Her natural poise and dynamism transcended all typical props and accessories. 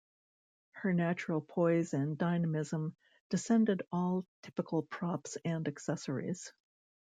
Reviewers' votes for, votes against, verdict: 2, 1, accepted